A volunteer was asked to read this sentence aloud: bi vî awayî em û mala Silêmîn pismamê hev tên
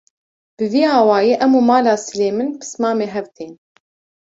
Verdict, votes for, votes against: accepted, 2, 0